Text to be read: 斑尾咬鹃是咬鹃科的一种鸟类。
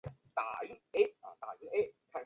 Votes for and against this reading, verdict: 0, 2, rejected